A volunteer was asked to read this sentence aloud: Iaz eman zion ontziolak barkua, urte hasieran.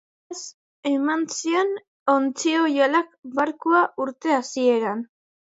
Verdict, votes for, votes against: rejected, 0, 2